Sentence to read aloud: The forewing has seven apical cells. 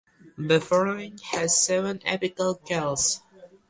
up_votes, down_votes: 0, 2